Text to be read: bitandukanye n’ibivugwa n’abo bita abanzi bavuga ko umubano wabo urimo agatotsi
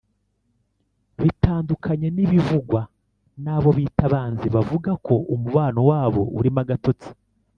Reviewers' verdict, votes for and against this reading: rejected, 0, 2